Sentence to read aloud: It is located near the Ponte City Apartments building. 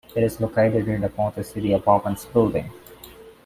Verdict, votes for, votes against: accepted, 2, 0